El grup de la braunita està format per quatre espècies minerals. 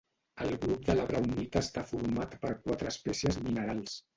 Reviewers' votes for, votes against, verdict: 0, 2, rejected